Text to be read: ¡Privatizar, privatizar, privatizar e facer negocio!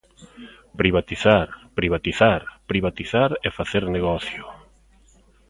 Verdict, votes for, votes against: accepted, 2, 0